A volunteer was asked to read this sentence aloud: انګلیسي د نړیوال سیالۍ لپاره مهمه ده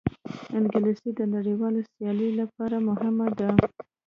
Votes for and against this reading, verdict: 1, 2, rejected